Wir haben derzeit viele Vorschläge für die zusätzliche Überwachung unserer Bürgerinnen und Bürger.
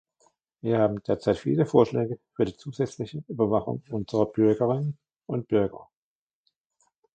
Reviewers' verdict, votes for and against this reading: rejected, 1, 2